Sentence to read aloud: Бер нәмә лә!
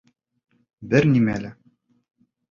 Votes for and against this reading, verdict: 0, 2, rejected